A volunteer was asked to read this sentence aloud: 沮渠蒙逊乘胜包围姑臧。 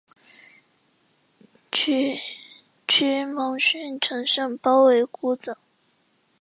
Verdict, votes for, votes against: rejected, 0, 2